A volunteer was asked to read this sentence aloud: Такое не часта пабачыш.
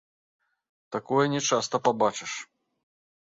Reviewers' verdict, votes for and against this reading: accepted, 2, 1